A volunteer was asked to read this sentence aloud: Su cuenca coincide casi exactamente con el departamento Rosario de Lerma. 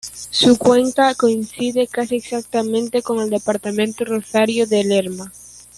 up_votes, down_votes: 2, 0